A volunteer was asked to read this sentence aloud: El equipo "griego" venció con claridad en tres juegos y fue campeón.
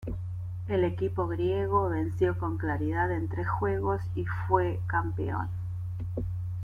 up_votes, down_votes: 2, 0